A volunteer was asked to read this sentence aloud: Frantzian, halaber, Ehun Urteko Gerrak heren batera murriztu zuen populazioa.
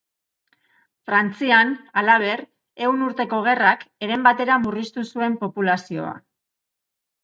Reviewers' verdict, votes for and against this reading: accepted, 3, 0